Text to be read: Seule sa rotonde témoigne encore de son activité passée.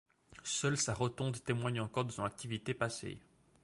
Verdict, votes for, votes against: accepted, 2, 0